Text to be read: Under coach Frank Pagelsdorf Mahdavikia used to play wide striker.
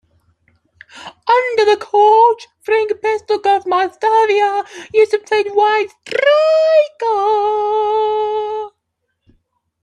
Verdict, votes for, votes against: rejected, 0, 2